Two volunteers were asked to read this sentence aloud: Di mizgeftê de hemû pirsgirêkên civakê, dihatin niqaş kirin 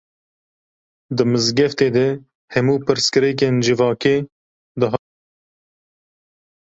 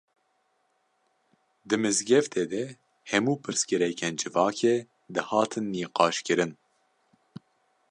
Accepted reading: second